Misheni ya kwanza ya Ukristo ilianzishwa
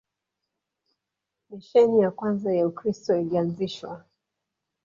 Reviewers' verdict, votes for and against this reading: rejected, 1, 2